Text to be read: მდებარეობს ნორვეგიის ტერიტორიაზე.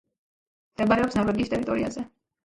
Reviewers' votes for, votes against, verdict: 3, 1, accepted